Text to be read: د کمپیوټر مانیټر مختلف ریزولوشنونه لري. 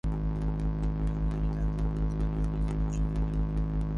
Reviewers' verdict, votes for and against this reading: rejected, 0, 3